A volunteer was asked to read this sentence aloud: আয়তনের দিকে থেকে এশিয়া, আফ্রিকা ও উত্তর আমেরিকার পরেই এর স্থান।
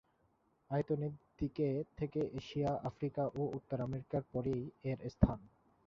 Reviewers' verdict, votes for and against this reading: rejected, 2, 5